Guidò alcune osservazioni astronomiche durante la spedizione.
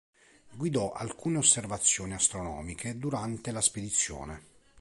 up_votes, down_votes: 2, 0